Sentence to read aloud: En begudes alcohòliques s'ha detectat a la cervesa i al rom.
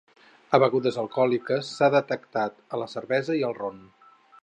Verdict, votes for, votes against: rejected, 0, 4